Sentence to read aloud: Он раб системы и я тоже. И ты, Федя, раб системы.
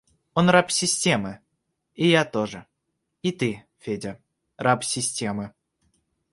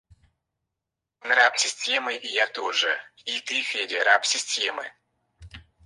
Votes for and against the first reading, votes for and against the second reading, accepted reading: 2, 0, 0, 4, first